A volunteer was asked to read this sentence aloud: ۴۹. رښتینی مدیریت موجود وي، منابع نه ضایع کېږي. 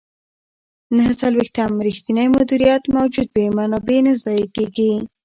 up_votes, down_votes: 0, 2